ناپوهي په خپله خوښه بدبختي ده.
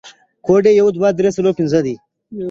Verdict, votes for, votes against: rejected, 0, 2